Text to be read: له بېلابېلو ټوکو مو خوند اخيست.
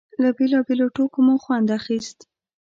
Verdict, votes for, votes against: accepted, 2, 0